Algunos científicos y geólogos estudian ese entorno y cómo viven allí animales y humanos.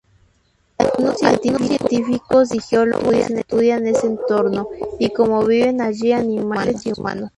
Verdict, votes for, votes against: rejected, 0, 2